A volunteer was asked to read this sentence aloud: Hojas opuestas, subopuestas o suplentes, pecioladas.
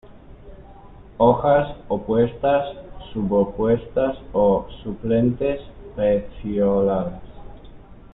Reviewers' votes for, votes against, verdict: 1, 2, rejected